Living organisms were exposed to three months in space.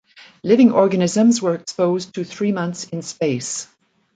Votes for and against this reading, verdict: 2, 0, accepted